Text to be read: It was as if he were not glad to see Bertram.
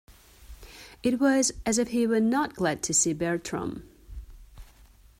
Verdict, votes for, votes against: accepted, 2, 0